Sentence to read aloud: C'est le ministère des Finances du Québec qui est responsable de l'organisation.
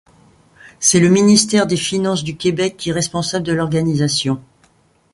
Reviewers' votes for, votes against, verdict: 2, 0, accepted